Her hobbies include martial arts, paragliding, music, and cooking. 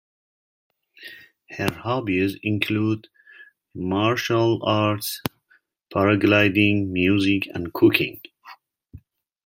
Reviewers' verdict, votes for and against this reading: accepted, 3, 0